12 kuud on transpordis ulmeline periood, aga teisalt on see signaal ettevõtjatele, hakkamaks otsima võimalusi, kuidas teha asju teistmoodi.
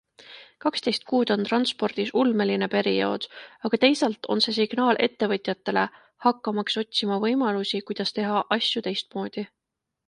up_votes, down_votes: 0, 2